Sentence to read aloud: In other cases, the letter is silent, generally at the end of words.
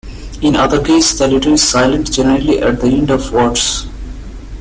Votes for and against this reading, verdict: 0, 2, rejected